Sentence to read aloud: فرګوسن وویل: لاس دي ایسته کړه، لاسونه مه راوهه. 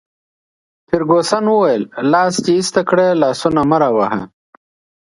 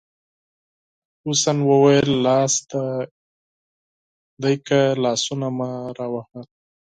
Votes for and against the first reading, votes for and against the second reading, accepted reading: 2, 0, 0, 4, first